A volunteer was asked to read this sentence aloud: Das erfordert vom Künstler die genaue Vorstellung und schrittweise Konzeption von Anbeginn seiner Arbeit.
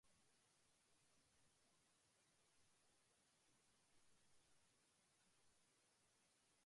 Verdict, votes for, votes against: rejected, 0, 2